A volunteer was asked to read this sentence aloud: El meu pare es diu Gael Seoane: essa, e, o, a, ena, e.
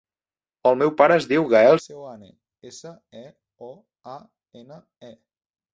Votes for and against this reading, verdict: 0, 2, rejected